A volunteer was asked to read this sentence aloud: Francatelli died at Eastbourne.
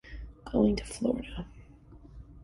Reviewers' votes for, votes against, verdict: 0, 2, rejected